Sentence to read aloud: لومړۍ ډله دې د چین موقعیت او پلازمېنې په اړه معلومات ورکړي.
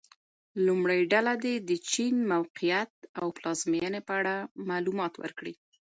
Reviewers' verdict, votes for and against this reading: accepted, 2, 1